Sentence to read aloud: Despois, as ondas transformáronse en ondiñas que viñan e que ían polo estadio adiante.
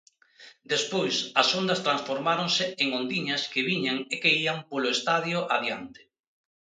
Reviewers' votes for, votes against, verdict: 2, 0, accepted